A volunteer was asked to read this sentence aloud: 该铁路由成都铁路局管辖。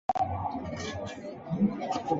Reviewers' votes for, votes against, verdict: 0, 3, rejected